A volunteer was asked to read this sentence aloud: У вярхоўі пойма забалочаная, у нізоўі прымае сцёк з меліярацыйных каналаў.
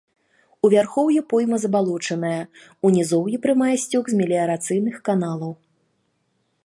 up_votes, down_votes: 2, 0